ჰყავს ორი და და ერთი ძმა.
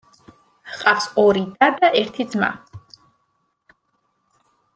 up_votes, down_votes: 2, 0